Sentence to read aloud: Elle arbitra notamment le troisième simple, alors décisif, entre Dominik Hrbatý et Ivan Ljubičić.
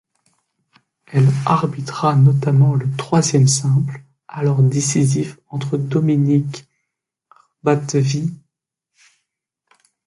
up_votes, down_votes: 0, 2